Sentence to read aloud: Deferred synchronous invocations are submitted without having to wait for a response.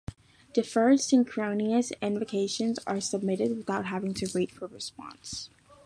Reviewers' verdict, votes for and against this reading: accepted, 3, 0